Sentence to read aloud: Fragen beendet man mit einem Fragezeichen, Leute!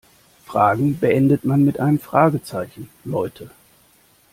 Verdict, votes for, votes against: accepted, 2, 0